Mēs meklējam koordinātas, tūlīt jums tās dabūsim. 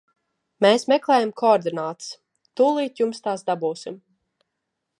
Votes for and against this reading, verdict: 4, 0, accepted